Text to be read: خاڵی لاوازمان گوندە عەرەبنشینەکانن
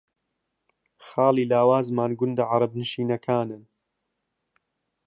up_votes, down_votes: 3, 0